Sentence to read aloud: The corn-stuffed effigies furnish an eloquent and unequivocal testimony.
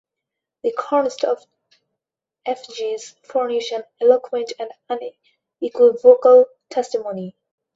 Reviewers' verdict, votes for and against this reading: rejected, 2, 4